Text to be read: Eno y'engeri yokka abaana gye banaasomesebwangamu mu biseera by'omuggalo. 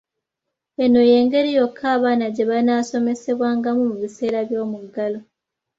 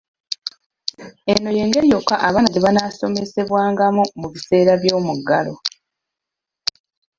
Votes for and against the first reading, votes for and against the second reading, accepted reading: 2, 0, 0, 2, first